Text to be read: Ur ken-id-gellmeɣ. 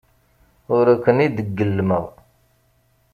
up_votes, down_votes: 2, 0